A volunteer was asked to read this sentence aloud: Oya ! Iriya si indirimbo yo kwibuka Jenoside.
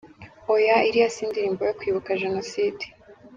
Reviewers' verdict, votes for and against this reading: accepted, 2, 0